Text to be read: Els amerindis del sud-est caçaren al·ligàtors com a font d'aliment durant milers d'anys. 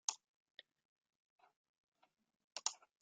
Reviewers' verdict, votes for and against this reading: rejected, 1, 2